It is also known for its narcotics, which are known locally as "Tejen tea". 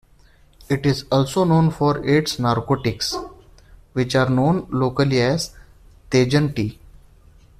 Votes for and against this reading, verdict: 2, 0, accepted